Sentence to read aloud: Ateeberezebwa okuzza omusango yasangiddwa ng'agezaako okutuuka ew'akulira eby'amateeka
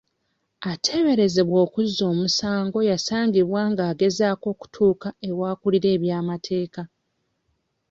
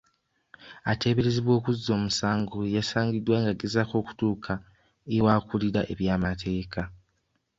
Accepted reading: second